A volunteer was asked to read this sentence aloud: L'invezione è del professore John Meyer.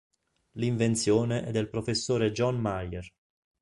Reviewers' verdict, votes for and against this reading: rejected, 1, 2